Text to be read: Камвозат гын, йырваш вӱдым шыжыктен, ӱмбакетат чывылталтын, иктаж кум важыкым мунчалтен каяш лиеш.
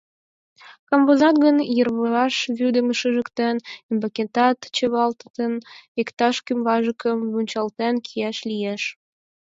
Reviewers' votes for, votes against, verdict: 4, 6, rejected